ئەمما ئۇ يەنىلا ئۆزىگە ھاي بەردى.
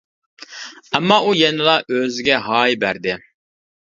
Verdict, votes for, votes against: accepted, 2, 0